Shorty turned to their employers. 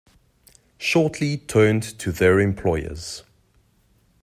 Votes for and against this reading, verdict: 2, 1, accepted